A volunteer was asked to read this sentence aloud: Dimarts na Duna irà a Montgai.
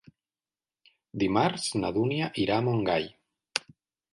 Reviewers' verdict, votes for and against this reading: rejected, 0, 2